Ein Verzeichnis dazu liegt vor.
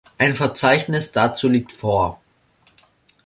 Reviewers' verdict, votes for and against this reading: accepted, 2, 0